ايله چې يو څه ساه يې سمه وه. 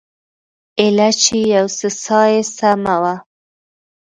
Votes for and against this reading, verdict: 2, 0, accepted